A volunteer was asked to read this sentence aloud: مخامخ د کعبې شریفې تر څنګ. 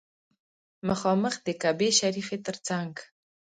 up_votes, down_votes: 1, 2